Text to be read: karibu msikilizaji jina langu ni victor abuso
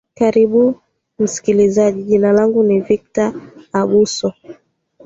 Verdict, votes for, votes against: accepted, 2, 0